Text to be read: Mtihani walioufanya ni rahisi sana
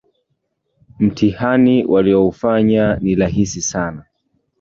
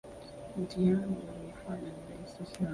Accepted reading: first